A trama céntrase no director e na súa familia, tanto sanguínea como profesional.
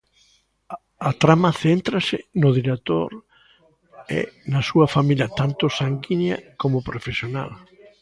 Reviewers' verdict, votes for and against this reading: accepted, 2, 1